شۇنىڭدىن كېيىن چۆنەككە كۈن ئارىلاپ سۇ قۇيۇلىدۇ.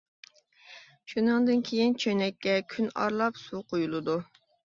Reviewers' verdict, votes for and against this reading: accepted, 2, 0